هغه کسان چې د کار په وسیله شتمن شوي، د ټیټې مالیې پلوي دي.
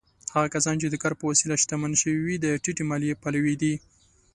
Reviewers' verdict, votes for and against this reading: accepted, 2, 0